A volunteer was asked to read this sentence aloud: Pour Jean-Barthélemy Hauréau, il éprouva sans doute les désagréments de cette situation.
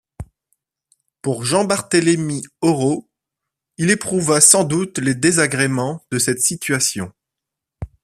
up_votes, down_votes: 0, 2